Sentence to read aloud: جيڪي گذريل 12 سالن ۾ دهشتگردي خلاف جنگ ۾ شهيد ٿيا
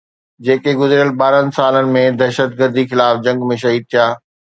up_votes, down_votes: 0, 2